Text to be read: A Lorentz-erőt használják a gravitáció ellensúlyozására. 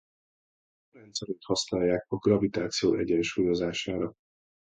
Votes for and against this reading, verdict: 0, 2, rejected